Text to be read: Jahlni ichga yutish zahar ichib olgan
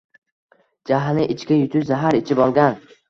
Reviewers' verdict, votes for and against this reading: accepted, 2, 0